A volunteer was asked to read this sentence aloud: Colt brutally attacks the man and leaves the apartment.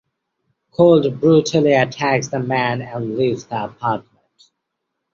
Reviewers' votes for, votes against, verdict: 1, 2, rejected